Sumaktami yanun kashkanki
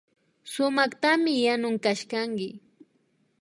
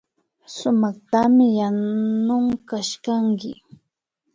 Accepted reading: first